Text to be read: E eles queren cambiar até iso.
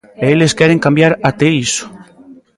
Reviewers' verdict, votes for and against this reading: accepted, 2, 0